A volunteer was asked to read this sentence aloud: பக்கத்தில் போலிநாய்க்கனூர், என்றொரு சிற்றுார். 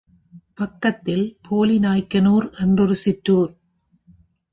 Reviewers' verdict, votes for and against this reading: accepted, 3, 0